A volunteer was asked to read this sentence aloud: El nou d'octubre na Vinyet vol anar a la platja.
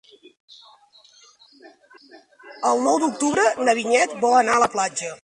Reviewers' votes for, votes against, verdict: 2, 1, accepted